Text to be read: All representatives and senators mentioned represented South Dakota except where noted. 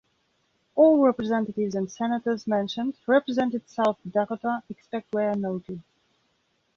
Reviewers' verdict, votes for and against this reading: rejected, 1, 2